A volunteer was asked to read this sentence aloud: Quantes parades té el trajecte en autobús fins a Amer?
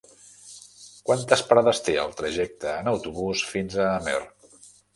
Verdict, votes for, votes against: accepted, 3, 0